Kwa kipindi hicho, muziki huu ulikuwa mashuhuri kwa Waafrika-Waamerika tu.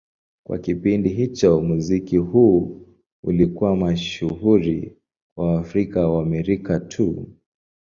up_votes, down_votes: 3, 0